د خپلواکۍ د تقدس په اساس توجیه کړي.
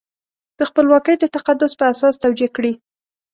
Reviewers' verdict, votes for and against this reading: accepted, 2, 0